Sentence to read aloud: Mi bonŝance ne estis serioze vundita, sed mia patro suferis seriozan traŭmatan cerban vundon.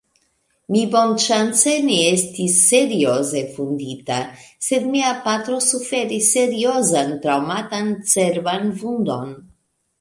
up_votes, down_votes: 2, 0